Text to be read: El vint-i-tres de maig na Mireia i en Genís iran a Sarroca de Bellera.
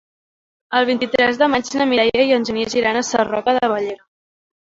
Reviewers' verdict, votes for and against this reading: rejected, 0, 2